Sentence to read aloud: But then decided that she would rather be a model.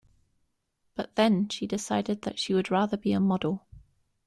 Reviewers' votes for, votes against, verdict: 0, 2, rejected